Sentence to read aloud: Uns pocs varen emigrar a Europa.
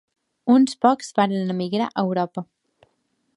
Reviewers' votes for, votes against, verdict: 2, 0, accepted